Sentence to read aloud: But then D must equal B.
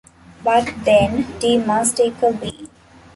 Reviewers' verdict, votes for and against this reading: rejected, 1, 2